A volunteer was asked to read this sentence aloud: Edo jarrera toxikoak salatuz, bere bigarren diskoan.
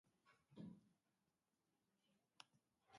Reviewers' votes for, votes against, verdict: 0, 3, rejected